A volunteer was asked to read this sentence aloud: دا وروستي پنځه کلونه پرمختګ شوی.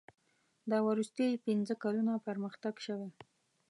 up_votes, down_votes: 2, 0